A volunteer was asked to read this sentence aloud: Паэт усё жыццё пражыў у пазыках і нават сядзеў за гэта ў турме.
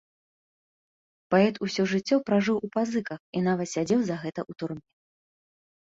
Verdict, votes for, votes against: rejected, 0, 2